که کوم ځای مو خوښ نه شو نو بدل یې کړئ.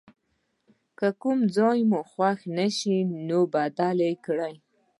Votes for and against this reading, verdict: 1, 2, rejected